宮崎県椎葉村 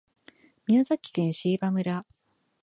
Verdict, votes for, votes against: accepted, 2, 0